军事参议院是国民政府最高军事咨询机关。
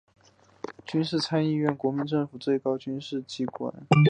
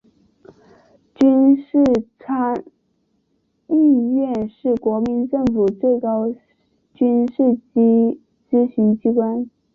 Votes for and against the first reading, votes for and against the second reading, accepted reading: 0, 2, 3, 0, second